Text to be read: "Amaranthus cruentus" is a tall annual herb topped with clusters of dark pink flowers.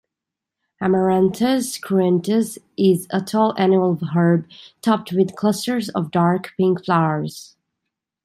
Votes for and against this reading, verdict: 2, 0, accepted